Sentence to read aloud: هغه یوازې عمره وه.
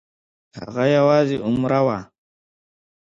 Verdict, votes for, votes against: accepted, 2, 0